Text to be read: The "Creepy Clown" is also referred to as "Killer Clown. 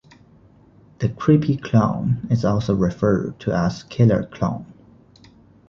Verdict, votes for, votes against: accepted, 2, 0